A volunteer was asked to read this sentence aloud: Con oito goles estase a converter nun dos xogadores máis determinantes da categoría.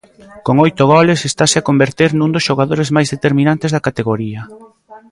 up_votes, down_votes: 1, 2